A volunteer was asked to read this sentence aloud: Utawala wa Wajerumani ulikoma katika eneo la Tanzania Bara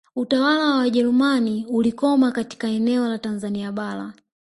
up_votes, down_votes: 1, 2